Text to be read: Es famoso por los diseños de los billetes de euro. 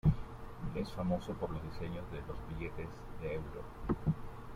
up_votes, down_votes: 0, 2